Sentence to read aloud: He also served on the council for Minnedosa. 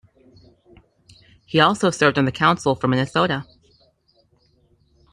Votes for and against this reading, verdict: 0, 2, rejected